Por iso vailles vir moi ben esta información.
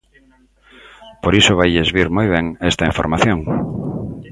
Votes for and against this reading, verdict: 2, 0, accepted